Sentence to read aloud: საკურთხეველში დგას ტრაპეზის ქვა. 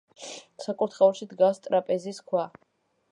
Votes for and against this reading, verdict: 2, 0, accepted